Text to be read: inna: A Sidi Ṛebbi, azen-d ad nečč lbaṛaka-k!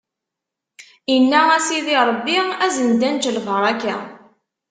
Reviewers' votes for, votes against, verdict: 0, 2, rejected